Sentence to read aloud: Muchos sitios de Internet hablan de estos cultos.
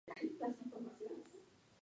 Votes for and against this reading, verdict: 0, 4, rejected